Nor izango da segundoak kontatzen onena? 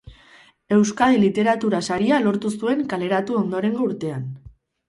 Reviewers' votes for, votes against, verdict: 0, 6, rejected